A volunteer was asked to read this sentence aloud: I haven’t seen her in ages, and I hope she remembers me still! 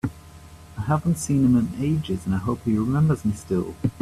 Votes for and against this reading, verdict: 1, 2, rejected